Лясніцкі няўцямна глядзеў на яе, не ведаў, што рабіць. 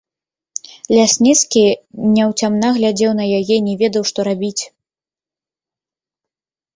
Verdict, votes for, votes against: rejected, 1, 2